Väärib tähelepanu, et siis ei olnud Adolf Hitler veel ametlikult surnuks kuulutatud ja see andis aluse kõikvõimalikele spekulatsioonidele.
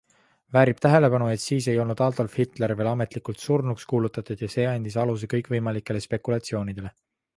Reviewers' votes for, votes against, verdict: 3, 0, accepted